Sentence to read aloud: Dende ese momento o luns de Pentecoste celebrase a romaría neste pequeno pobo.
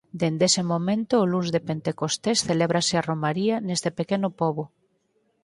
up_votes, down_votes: 2, 4